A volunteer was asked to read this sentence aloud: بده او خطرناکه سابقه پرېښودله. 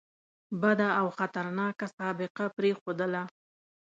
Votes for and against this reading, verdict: 2, 0, accepted